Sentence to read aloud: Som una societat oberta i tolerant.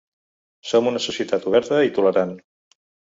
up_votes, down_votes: 2, 0